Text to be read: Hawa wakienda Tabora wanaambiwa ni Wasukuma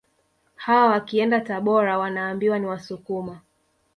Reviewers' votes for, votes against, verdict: 2, 0, accepted